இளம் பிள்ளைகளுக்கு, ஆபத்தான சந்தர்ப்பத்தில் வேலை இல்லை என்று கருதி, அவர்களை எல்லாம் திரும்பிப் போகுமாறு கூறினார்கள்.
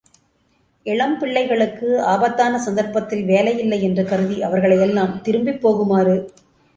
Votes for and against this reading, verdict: 0, 2, rejected